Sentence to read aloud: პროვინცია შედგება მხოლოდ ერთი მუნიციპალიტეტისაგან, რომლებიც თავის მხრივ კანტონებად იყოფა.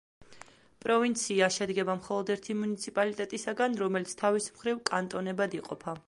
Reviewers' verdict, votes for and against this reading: rejected, 0, 2